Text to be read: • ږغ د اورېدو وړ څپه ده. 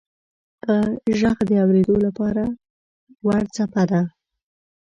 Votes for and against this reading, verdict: 0, 2, rejected